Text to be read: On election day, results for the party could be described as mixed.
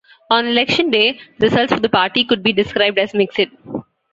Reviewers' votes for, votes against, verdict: 2, 0, accepted